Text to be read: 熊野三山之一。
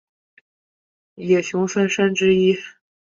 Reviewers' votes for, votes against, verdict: 1, 2, rejected